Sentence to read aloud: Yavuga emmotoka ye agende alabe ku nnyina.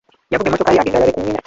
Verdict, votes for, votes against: rejected, 1, 2